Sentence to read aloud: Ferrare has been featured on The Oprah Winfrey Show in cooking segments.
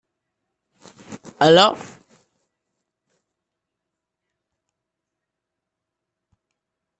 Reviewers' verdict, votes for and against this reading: rejected, 0, 2